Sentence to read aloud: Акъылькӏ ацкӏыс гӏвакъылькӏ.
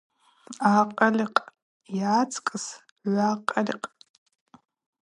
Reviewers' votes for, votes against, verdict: 0, 2, rejected